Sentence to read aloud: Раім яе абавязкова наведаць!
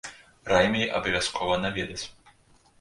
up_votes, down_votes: 0, 2